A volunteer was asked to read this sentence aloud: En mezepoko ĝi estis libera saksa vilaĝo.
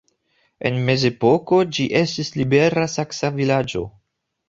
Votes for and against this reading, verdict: 2, 0, accepted